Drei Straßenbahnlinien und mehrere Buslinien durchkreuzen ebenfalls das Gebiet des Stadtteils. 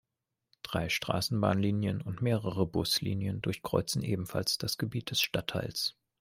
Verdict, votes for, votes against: accepted, 2, 0